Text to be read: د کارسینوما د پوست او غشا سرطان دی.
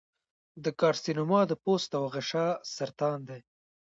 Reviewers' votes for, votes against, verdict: 0, 2, rejected